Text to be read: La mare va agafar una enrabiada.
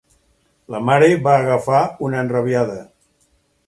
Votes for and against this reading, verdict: 2, 4, rejected